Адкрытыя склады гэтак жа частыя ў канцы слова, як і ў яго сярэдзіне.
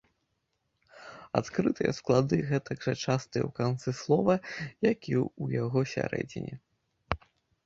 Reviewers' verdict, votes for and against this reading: rejected, 1, 2